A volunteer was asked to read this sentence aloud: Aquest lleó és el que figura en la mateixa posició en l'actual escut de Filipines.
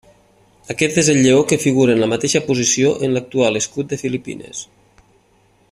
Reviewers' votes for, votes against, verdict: 0, 2, rejected